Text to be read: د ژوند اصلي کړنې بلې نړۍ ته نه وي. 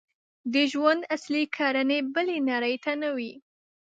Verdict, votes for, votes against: rejected, 1, 2